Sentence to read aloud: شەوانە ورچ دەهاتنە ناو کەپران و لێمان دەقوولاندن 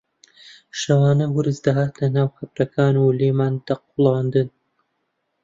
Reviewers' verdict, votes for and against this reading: rejected, 0, 2